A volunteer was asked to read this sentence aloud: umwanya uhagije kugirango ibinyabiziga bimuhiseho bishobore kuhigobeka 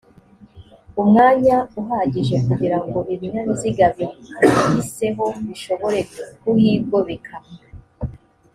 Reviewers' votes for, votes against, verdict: 2, 0, accepted